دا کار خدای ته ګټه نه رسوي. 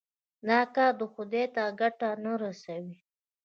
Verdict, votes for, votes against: accepted, 2, 0